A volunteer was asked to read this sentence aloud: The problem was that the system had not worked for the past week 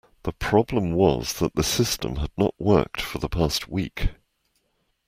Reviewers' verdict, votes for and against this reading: accepted, 2, 0